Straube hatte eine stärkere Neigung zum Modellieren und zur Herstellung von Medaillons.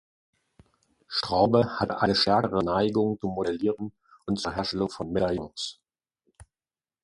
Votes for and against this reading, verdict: 0, 2, rejected